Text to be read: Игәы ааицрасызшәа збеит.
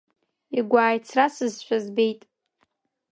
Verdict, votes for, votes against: accepted, 2, 1